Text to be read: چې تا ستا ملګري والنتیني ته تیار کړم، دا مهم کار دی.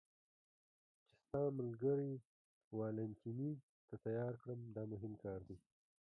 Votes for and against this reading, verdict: 0, 2, rejected